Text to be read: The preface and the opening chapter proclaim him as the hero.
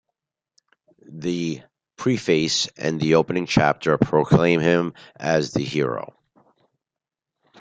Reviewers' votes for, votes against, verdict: 2, 0, accepted